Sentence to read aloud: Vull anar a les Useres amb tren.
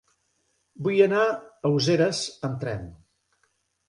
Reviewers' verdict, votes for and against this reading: rejected, 2, 3